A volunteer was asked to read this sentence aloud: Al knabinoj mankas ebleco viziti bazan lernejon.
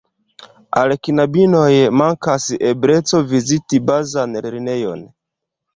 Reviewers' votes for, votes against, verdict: 1, 2, rejected